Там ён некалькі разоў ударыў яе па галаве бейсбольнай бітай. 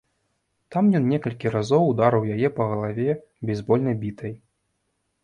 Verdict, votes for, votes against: accepted, 2, 0